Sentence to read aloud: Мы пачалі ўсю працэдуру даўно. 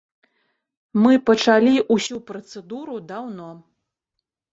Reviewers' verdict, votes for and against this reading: accepted, 2, 0